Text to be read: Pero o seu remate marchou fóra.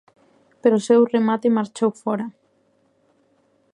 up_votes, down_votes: 2, 0